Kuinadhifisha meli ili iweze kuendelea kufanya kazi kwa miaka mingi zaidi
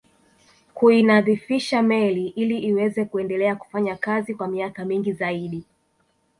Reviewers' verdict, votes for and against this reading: rejected, 0, 2